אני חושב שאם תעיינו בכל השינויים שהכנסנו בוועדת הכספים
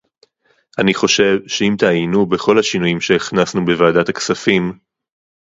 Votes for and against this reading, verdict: 2, 0, accepted